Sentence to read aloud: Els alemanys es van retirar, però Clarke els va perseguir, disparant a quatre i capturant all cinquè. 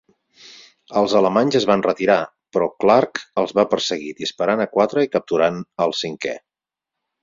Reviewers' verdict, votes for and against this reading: accepted, 4, 0